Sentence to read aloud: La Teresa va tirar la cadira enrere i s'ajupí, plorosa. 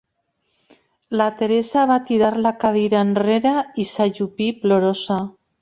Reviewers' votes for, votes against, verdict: 2, 0, accepted